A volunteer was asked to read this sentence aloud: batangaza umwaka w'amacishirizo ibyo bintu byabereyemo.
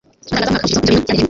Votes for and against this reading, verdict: 0, 2, rejected